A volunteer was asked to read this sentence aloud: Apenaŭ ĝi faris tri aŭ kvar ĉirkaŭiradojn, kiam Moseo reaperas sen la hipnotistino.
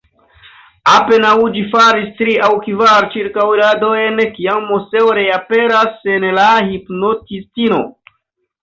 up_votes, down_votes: 1, 2